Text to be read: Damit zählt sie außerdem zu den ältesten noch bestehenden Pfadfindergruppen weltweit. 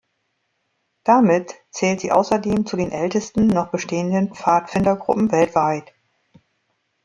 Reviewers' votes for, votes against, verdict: 1, 2, rejected